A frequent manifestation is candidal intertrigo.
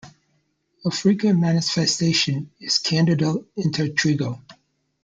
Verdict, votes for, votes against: accepted, 2, 0